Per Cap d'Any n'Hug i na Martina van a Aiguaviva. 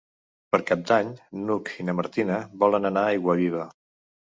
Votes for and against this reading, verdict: 2, 3, rejected